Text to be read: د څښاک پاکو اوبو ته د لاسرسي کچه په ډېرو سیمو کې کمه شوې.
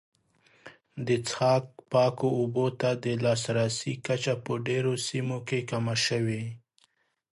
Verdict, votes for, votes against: accepted, 2, 0